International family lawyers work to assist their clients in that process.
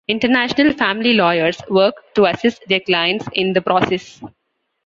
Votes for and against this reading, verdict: 2, 0, accepted